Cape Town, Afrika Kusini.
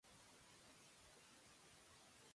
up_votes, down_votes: 0, 2